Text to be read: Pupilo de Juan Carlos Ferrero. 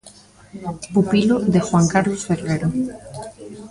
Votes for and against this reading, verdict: 0, 2, rejected